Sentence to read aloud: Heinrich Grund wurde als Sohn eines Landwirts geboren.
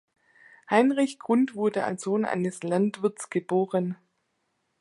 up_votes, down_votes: 2, 0